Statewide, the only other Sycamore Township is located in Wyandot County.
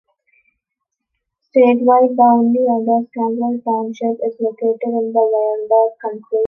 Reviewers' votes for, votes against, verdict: 0, 2, rejected